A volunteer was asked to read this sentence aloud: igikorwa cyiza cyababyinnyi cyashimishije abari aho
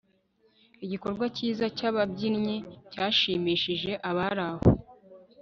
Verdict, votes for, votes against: accepted, 2, 0